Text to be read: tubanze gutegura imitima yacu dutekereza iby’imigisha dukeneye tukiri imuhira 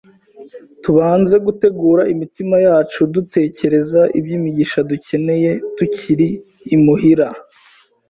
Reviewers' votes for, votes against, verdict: 2, 0, accepted